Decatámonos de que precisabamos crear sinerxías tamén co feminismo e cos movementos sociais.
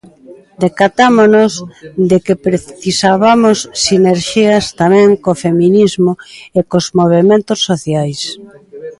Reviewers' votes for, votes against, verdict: 0, 2, rejected